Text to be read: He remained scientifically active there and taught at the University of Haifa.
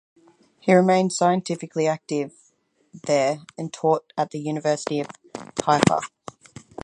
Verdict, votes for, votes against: rejected, 0, 4